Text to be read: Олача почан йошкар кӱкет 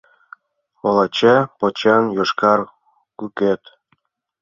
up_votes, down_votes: 0, 2